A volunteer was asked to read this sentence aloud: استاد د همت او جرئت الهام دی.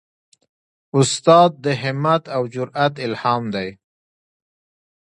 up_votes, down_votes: 2, 0